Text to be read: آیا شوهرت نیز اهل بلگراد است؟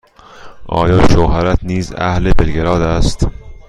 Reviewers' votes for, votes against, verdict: 2, 0, accepted